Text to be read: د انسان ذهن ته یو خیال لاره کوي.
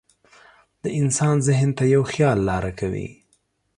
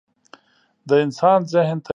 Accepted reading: first